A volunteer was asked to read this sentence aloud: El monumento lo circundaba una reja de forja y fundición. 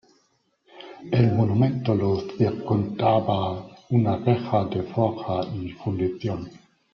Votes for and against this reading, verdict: 2, 0, accepted